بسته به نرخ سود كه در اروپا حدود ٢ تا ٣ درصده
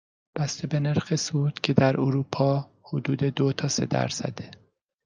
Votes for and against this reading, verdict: 0, 2, rejected